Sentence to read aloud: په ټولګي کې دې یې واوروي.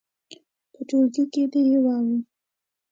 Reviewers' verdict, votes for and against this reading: accepted, 2, 0